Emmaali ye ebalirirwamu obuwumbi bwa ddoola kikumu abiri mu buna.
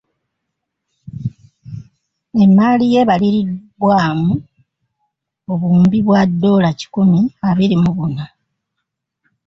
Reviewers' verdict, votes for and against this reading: rejected, 1, 2